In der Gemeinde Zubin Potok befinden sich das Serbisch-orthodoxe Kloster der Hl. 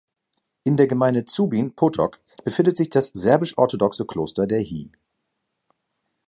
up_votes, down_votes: 1, 2